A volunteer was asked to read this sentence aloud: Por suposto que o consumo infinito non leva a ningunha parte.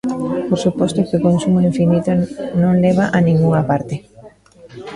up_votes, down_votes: 0, 2